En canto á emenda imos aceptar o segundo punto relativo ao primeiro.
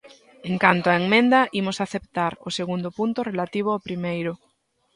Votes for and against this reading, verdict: 1, 2, rejected